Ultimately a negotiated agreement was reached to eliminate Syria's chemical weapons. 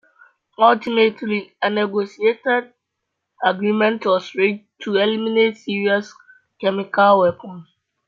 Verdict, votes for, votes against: accepted, 2, 0